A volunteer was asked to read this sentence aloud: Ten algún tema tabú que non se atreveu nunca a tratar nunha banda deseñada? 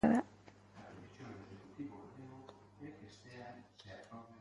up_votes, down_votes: 0, 2